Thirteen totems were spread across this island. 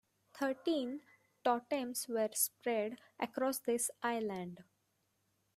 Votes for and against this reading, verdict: 2, 1, accepted